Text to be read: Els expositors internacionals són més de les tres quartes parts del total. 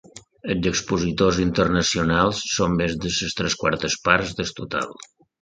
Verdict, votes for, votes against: accepted, 2, 0